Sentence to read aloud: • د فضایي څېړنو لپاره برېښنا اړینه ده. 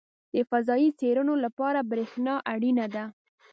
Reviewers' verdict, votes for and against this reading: accepted, 2, 0